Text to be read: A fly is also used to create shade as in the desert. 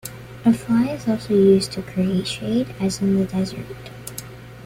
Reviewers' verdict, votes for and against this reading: accepted, 2, 0